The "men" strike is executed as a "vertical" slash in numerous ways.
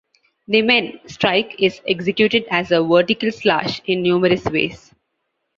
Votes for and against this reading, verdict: 2, 0, accepted